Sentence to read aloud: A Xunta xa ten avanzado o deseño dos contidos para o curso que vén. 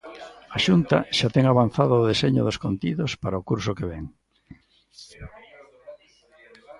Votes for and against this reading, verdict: 1, 2, rejected